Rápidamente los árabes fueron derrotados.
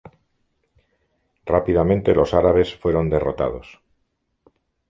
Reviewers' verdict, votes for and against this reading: accepted, 2, 0